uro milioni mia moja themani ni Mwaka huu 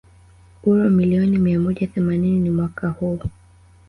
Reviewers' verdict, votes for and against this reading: rejected, 1, 2